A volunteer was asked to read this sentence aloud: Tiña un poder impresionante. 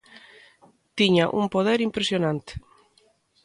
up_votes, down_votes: 2, 0